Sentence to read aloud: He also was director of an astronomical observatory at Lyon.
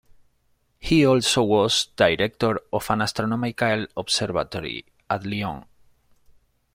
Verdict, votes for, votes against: rejected, 0, 2